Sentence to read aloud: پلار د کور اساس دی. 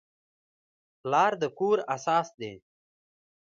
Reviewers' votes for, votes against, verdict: 0, 2, rejected